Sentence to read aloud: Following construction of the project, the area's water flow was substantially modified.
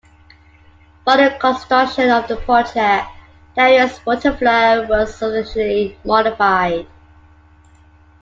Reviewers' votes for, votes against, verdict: 0, 2, rejected